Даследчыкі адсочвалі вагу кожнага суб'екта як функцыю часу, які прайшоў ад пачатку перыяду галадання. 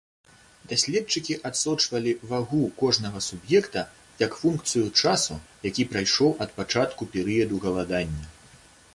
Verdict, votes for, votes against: accepted, 2, 1